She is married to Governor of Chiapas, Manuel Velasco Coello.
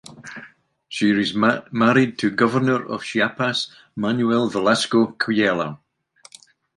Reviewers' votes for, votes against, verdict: 1, 2, rejected